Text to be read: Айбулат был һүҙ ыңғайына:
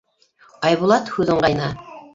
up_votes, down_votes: 0, 3